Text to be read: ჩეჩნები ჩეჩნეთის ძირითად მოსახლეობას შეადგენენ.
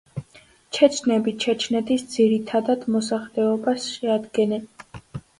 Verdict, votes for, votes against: rejected, 1, 2